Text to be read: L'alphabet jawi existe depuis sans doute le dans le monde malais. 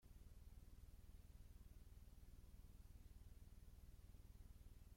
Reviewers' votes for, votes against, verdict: 0, 2, rejected